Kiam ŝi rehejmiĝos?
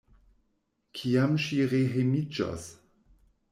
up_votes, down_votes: 2, 0